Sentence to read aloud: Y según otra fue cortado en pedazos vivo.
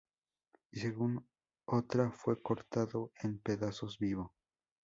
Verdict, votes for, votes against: rejected, 0, 2